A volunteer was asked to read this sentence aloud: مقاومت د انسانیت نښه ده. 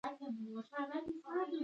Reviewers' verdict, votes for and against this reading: rejected, 1, 2